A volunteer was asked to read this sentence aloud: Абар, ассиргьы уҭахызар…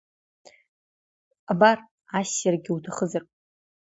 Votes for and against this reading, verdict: 2, 0, accepted